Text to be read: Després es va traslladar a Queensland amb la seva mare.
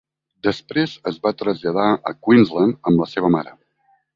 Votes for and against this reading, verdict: 2, 0, accepted